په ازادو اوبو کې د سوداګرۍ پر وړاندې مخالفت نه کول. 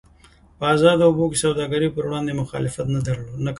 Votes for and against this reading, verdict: 1, 2, rejected